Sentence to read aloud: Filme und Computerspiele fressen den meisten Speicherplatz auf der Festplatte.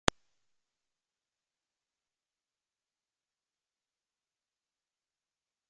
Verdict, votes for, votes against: rejected, 0, 2